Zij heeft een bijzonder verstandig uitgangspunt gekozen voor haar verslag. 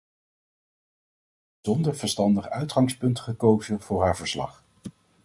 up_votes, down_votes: 0, 2